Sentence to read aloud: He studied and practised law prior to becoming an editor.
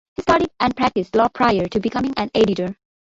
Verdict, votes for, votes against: accepted, 2, 1